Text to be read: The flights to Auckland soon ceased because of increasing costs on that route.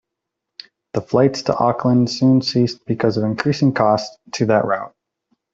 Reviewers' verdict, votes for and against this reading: rejected, 0, 2